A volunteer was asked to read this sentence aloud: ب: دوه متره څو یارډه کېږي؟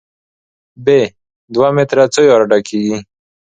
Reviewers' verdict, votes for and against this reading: accepted, 2, 0